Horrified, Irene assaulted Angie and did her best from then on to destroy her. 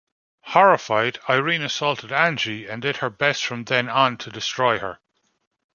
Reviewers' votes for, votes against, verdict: 2, 0, accepted